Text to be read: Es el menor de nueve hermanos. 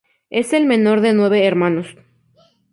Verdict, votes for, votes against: accepted, 2, 0